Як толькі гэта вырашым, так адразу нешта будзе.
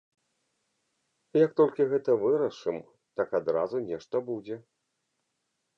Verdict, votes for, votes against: accepted, 2, 0